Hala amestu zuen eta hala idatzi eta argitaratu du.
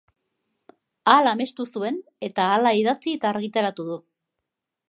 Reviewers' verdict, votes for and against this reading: accepted, 2, 0